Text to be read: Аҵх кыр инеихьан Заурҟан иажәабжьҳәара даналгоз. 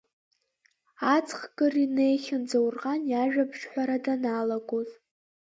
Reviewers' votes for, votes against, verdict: 2, 1, accepted